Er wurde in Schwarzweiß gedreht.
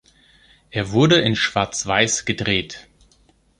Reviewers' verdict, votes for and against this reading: accepted, 2, 0